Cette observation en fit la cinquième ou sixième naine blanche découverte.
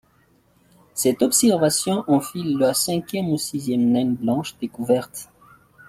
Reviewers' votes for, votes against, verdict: 2, 0, accepted